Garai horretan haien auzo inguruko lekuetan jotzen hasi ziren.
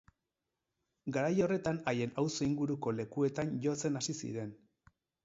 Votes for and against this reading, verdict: 2, 4, rejected